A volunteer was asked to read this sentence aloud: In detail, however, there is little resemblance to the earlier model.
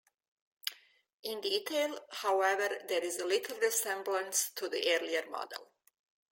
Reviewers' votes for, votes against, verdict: 2, 0, accepted